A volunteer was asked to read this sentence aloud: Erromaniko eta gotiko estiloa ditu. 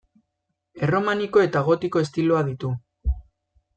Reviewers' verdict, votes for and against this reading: accepted, 2, 0